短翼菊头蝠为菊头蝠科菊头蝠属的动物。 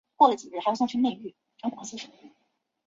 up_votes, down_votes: 0, 2